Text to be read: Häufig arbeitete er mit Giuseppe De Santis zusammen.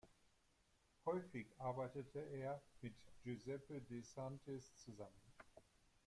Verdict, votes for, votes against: accepted, 2, 0